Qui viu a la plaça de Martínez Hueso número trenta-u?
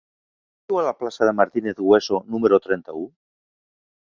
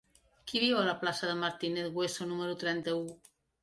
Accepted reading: second